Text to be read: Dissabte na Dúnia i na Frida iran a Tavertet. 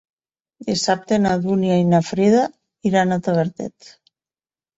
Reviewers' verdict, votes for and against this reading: accepted, 4, 0